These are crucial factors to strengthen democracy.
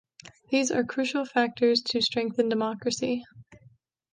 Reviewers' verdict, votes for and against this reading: accepted, 2, 1